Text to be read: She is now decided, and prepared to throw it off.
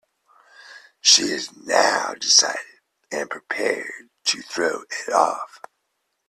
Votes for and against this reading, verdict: 2, 1, accepted